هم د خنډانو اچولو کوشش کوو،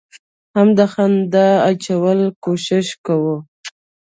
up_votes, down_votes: 0, 2